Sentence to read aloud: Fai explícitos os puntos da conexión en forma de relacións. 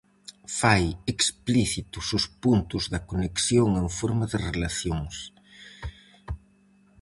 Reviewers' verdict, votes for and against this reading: accepted, 4, 0